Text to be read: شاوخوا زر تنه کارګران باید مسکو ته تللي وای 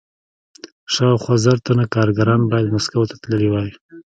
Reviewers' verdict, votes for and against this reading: rejected, 1, 2